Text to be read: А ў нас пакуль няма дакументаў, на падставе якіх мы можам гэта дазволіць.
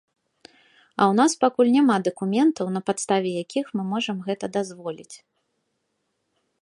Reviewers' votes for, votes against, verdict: 2, 0, accepted